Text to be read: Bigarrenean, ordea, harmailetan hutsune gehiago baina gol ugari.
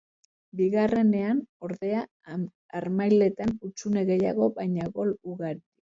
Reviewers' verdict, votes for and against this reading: rejected, 0, 2